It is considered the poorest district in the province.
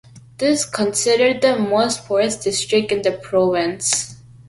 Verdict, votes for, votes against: rejected, 1, 2